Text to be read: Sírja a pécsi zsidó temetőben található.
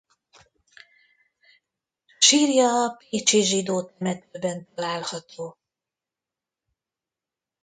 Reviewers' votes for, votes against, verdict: 0, 2, rejected